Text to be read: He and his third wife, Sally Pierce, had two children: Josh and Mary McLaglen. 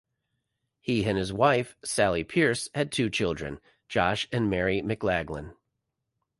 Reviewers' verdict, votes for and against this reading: rejected, 1, 2